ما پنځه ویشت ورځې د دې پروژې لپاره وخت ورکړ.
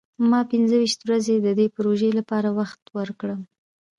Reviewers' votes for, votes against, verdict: 2, 0, accepted